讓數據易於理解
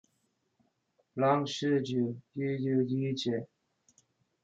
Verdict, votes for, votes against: rejected, 0, 2